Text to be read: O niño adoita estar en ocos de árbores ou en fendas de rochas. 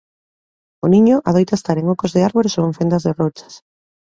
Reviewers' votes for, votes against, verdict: 2, 0, accepted